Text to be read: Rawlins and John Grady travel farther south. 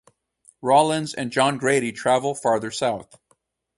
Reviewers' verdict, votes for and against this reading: accepted, 2, 0